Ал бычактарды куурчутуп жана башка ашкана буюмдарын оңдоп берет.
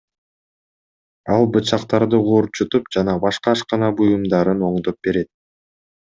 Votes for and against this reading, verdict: 2, 0, accepted